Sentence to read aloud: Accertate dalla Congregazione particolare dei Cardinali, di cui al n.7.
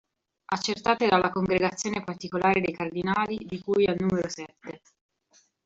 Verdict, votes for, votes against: rejected, 0, 2